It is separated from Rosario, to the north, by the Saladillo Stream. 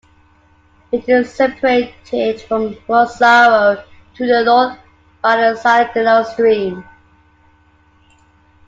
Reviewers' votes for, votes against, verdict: 0, 2, rejected